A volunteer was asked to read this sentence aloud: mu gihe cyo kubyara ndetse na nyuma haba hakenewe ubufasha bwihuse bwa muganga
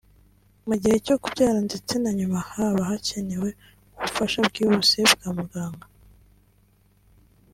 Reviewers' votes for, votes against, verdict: 2, 0, accepted